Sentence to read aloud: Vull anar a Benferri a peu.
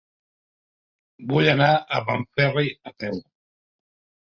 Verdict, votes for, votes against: rejected, 1, 2